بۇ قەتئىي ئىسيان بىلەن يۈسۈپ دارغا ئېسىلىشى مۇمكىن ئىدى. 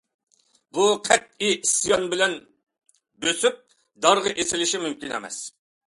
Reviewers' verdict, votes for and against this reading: rejected, 0, 2